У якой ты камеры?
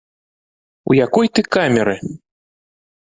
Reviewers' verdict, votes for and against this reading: accepted, 3, 0